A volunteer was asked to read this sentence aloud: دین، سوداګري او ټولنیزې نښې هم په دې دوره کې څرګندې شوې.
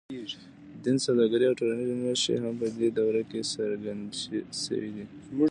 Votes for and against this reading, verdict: 2, 1, accepted